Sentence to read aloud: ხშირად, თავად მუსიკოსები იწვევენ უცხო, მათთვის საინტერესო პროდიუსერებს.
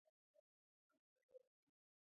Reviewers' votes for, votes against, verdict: 0, 2, rejected